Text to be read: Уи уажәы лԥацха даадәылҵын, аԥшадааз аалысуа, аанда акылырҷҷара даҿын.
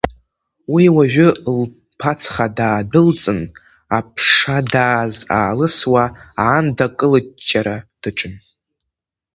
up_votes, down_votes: 0, 3